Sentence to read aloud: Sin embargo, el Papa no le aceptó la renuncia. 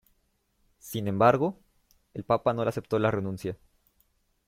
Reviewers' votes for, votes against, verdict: 2, 0, accepted